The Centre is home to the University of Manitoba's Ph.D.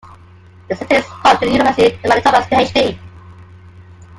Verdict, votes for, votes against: rejected, 0, 2